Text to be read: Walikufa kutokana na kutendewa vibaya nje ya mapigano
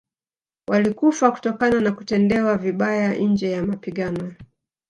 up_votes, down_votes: 2, 0